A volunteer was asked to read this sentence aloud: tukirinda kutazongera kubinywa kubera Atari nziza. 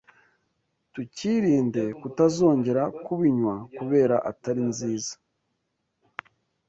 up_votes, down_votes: 1, 2